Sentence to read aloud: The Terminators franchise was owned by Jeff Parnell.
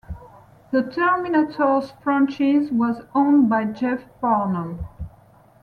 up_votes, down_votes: 1, 2